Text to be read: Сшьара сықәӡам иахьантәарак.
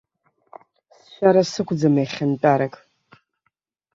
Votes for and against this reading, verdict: 1, 2, rejected